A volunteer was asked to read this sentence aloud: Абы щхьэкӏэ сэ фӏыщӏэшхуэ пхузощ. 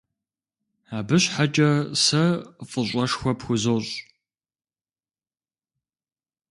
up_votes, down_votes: 2, 0